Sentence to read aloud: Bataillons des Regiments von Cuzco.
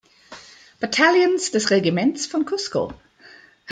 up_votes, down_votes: 1, 2